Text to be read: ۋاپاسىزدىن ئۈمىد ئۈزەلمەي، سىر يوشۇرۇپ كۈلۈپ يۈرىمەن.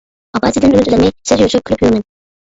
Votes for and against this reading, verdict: 0, 2, rejected